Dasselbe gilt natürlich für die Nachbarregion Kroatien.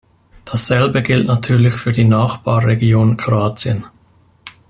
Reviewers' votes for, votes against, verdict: 2, 0, accepted